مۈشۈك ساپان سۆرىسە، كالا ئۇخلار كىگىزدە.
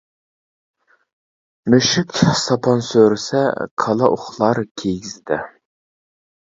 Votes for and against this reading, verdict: 2, 0, accepted